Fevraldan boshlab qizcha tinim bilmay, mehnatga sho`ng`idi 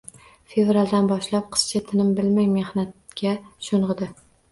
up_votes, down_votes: 1, 2